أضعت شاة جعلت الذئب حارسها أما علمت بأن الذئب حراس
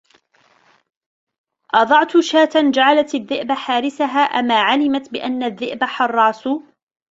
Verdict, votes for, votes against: accepted, 2, 0